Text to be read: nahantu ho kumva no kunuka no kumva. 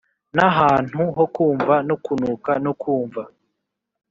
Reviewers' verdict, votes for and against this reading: accepted, 3, 0